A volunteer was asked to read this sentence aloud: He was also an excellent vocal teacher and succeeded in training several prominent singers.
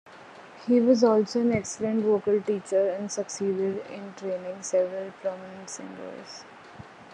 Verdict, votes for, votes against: accepted, 2, 0